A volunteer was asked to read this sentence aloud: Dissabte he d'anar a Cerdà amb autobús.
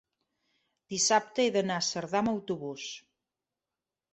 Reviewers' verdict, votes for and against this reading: accepted, 3, 0